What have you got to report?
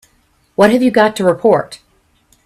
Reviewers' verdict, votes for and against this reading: accepted, 2, 1